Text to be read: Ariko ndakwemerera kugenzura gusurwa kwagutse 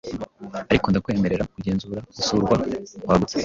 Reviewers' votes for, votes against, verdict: 2, 0, accepted